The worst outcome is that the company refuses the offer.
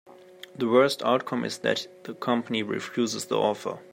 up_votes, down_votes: 3, 0